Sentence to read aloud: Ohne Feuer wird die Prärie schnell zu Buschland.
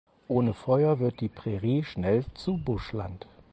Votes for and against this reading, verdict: 4, 0, accepted